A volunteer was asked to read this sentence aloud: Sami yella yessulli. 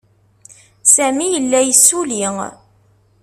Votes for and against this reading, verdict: 2, 0, accepted